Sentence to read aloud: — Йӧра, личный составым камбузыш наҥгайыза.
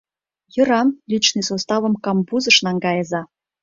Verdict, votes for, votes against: accepted, 2, 0